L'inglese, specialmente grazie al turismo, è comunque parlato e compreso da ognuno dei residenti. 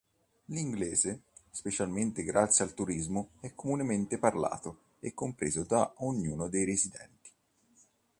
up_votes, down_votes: 2, 3